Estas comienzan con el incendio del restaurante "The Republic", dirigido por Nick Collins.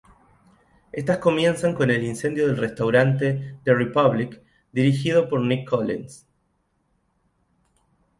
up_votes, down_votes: 0, 2